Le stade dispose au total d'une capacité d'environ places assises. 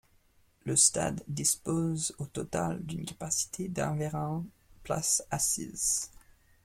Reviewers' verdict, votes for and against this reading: rejected, 1, 2